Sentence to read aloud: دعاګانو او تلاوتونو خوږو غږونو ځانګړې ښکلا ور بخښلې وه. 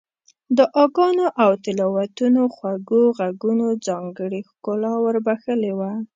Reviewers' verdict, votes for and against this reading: accepted, 2, 0